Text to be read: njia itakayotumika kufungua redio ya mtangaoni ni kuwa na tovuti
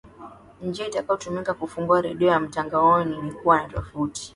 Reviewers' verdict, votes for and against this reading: accepted, 2, 0